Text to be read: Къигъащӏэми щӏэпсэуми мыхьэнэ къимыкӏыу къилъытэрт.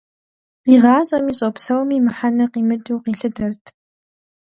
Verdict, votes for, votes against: accepted, 2, 0